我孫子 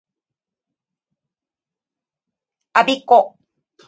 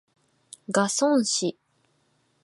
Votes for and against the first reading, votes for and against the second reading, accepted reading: 2, 0, 0, 2, first